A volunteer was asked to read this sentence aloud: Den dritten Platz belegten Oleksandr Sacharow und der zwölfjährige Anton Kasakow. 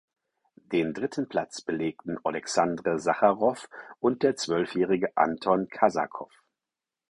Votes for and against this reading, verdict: 6, 0, accepted